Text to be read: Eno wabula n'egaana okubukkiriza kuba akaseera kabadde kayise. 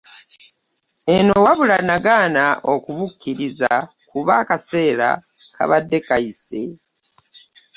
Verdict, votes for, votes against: rejected, 1, 2